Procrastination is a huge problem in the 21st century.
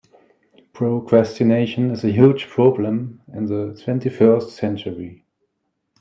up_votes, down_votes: 0, 2